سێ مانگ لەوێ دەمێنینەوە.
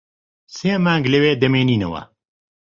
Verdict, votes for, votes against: accepted, 2, 0